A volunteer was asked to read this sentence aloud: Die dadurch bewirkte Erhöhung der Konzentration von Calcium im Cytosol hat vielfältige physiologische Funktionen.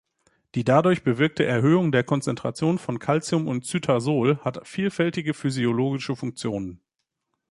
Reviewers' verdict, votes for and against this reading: rejected, 1, 2